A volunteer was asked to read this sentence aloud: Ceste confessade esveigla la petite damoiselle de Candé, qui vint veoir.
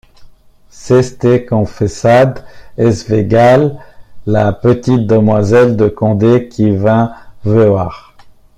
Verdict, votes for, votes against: rejected, 1, 2